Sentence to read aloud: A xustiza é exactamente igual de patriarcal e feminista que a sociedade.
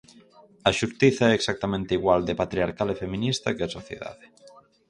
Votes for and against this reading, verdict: 2, 2, rejected